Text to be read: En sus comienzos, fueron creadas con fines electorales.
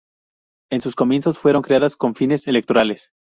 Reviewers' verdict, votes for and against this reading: rejected, 0, 2